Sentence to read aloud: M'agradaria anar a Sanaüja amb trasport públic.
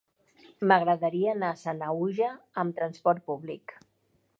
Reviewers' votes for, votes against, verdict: 2, 0, accepted